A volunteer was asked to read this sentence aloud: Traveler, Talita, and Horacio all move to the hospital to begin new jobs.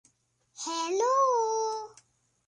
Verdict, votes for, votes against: rejected, 0, 2